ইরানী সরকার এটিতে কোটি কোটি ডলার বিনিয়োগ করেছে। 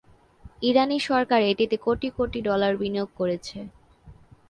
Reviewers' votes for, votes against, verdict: 2, 0, accepted